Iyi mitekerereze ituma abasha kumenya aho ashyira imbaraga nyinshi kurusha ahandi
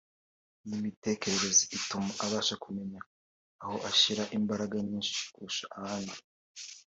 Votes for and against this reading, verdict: 2, 0, accepted